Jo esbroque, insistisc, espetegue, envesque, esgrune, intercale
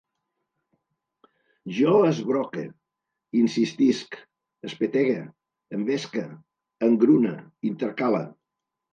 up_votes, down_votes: 1, 2